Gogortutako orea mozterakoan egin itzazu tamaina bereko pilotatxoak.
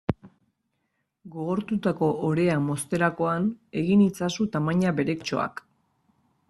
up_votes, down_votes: 1, 2